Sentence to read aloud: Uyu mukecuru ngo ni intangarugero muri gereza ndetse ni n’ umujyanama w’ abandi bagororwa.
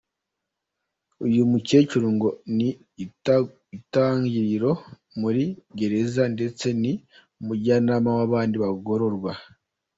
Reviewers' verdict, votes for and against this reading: rejected, 0, 2